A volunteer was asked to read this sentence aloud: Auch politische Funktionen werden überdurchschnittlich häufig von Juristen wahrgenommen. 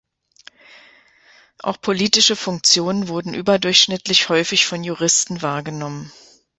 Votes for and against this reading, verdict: 0, 2, rejected